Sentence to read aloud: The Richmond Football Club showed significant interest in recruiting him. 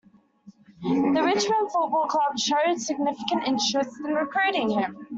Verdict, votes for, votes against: accepted, 2, 1